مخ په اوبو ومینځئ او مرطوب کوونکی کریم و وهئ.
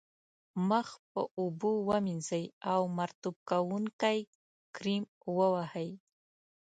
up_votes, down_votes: 2, 0